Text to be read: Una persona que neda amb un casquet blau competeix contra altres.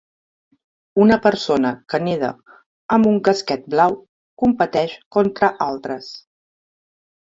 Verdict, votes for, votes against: accepted, 2, 0